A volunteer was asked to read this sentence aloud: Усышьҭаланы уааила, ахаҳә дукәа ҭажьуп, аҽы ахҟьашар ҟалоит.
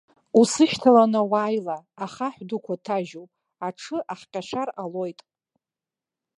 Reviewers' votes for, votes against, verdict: 2, 1, accepted